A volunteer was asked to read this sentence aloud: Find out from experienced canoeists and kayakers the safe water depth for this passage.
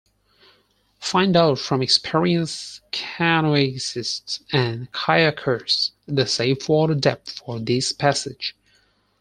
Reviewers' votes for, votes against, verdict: 0, 4, rejected